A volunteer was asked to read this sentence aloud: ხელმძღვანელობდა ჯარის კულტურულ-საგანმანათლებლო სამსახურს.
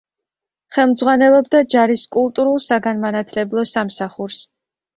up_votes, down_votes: 2, 0